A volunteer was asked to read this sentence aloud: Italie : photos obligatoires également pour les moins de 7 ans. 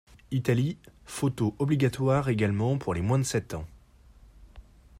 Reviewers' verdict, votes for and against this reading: rejected, 0, 2